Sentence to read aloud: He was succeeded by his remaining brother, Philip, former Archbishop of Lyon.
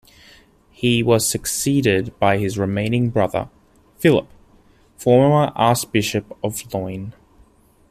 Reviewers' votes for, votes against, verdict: 0, 2, rejected